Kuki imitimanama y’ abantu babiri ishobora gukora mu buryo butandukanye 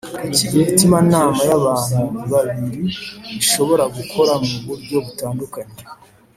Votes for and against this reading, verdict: 2, 0, accepted